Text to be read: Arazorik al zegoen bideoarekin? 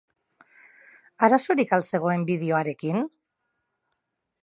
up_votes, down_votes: 0, 2